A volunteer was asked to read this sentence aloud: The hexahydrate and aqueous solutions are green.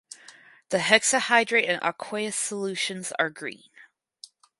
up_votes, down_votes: 2, 0